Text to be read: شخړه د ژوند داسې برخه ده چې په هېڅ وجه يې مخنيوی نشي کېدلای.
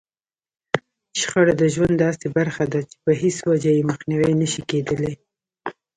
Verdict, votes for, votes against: rejected, 1, 2